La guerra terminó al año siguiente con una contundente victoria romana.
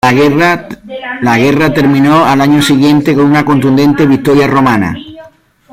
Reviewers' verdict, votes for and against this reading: rejected, 0, 3